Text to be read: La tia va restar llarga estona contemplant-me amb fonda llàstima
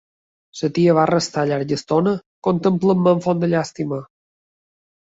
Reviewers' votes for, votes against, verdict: 3, 1, accepted